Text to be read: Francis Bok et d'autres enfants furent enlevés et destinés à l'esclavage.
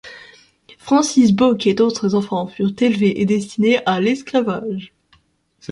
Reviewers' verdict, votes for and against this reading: rejected, 0, 2